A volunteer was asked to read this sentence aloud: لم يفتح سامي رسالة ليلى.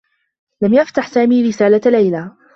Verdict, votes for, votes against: accepted, 2, 0